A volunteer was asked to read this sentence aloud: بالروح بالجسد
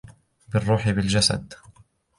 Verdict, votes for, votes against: accepted, 3, 1